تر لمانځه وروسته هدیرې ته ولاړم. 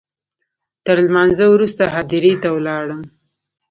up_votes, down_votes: 1, 2